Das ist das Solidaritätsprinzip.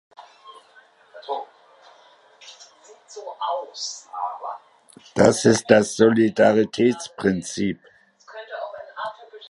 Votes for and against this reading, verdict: 0, 2, rejected